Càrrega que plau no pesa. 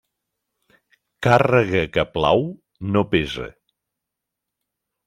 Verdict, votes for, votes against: accepted, 2, 0